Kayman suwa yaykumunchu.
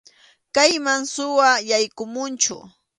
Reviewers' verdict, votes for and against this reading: accepted, 2, 0